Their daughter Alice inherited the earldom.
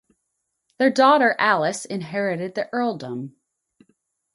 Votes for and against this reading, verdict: 0, 2, rejected